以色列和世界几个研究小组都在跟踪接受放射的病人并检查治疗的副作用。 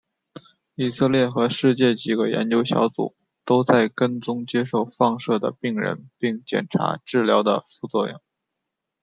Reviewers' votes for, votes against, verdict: 2, 1, accepted